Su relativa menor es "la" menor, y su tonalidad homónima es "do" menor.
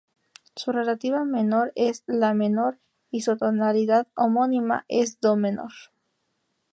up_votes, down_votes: 2, 2